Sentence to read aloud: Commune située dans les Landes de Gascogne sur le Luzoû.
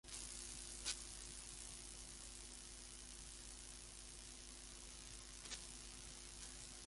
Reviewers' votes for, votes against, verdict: 0, 2, rejected